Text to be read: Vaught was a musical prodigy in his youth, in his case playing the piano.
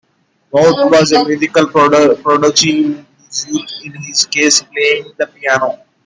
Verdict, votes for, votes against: accepted, 2, 1